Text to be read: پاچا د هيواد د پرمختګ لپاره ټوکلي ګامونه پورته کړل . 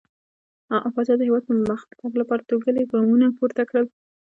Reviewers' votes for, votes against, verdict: 0, 2, rejected